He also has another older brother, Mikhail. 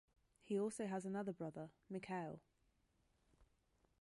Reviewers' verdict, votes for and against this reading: rejected, 0, 2